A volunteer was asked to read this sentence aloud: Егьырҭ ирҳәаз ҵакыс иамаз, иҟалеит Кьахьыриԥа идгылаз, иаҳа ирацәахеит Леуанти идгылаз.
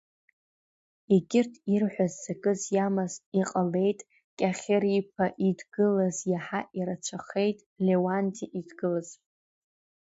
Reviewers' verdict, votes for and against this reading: accepted, 2, 0